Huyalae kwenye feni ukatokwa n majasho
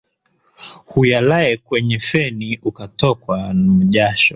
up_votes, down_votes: 2, 1